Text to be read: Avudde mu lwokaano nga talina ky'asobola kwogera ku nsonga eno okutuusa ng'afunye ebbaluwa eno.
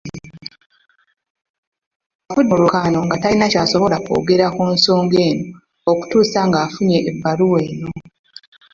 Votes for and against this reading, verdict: 1, 2, rejected